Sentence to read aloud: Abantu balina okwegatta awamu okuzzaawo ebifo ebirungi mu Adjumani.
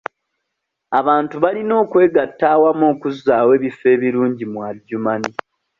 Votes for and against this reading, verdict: 2, 0, accepted